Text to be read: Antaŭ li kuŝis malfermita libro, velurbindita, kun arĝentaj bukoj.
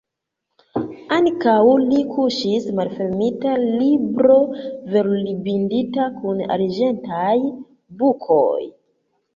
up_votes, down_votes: 1, 2